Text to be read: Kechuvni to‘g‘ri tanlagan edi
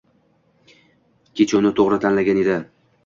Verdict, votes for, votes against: accepted, 2, 0